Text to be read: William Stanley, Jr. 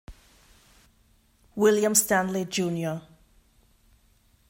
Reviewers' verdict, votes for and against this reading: rejected, 1, 2